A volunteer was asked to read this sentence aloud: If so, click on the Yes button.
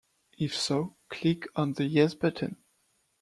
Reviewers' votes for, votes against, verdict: 2, 0, accepted